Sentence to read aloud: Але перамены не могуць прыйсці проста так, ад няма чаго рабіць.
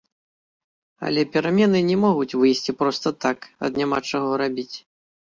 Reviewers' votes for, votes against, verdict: 1, 2, rejected